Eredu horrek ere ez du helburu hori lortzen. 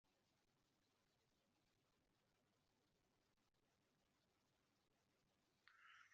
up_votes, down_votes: 0, 2